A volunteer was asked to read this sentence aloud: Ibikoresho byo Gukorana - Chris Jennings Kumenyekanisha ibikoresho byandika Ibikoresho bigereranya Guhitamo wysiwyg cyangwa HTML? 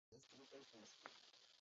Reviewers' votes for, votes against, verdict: 0, 2, rejected